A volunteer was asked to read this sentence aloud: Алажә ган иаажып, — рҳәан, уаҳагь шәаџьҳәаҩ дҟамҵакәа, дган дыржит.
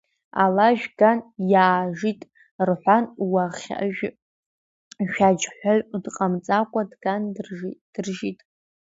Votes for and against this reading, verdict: 0, 2, rejected